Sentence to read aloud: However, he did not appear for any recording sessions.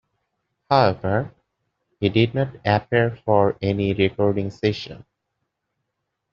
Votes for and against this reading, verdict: 2, 1, accepted